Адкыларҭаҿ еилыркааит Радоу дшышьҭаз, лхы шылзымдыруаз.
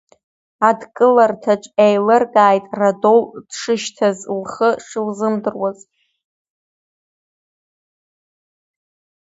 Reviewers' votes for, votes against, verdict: 0, 2, rejected